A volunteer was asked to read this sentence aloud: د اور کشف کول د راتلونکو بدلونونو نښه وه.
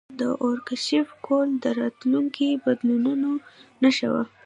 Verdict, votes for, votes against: accepted, 2, 0